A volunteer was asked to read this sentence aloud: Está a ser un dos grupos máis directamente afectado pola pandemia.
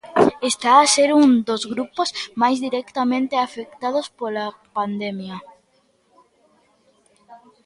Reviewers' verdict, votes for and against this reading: rejected, 0, 2